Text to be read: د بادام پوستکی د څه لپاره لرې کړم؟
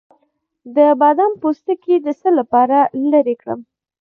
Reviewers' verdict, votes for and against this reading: accepted, 2, 1